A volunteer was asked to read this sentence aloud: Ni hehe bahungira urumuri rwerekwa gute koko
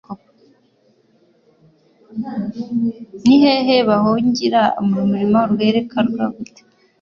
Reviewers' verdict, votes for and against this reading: accepted, 2, 0